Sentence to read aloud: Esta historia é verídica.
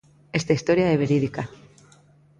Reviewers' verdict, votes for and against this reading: accepted, 2, 0